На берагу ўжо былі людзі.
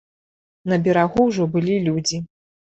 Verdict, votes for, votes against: rejected, 1, 2